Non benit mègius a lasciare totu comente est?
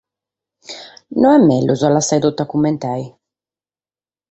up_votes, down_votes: 0, 4